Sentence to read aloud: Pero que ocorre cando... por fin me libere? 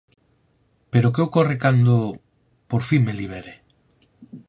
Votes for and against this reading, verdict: 4, 0, accepted